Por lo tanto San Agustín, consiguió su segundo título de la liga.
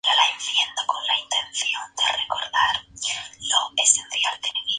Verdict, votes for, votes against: rejected, 0, 4